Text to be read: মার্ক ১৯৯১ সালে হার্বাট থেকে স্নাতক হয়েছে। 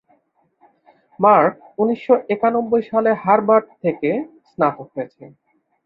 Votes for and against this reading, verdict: 0, 2, rejected